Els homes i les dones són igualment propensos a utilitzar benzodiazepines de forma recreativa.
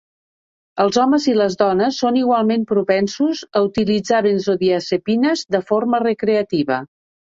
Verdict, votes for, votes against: accepted, 4, 0